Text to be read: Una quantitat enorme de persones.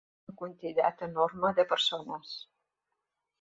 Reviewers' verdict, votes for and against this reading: rejected, 0, 2